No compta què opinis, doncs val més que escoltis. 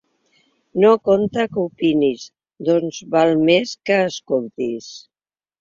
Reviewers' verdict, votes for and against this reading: accepted, 2, 0